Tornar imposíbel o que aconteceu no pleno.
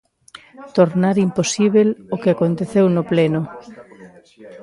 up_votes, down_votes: 2, 1